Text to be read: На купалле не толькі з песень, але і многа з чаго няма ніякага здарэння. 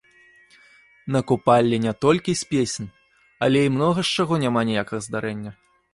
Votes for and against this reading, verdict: 0, 2, rejected